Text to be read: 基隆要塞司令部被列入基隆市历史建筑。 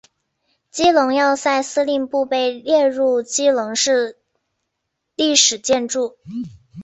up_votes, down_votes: 5, 1